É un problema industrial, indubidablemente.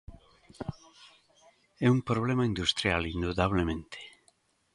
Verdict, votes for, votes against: rejected, 0, 2